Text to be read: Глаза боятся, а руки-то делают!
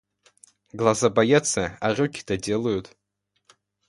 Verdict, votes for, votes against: accepted, 2, 0